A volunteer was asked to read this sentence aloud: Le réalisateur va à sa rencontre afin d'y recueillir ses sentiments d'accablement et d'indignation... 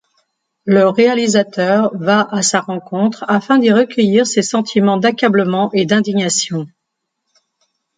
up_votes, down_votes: 2, 0